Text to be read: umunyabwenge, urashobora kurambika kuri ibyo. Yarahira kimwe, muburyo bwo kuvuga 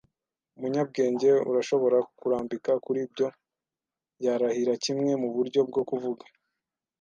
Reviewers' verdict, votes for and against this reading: accepted, 2, 0